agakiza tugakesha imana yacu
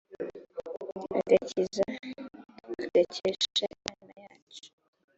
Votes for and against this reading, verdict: 1, 2, rejected